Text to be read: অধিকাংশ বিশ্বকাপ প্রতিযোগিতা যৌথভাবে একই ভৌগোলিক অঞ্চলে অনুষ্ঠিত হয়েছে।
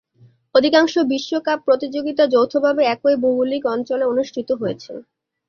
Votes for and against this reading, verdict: 2, 0, accepted